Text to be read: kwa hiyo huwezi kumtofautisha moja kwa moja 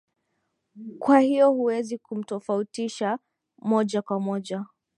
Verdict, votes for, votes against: rejected, 0, 3